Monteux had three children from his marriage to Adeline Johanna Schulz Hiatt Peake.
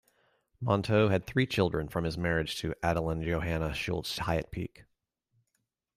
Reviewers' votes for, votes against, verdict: 2, 0, accepted